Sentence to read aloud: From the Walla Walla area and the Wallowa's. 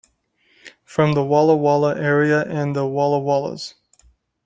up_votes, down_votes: 0, 2